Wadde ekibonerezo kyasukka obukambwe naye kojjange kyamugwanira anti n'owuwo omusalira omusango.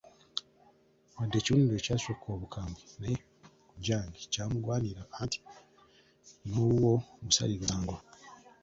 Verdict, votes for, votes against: rejected, 0, 2